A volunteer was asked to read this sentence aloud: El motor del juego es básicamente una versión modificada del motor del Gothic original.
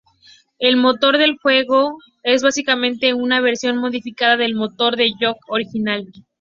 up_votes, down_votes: 4, 2